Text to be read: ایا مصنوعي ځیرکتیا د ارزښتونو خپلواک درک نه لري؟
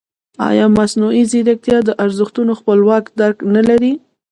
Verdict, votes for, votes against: rejected, 0, 2